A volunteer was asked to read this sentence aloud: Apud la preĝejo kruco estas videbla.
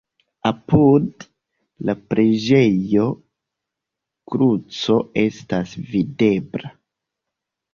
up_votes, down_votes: 2, 0